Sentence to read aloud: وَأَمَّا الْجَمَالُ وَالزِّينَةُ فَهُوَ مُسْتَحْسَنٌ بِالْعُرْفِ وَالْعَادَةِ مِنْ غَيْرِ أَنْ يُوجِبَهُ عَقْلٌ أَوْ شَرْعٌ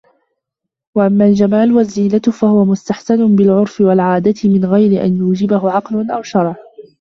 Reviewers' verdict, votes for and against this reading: rejected, 0, 2